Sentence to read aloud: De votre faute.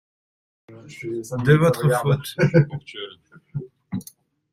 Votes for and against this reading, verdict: 0, 2, rejected